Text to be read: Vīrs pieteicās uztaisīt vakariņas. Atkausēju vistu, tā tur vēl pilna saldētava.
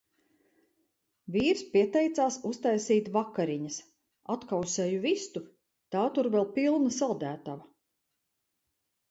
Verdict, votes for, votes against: accepted, 2, 0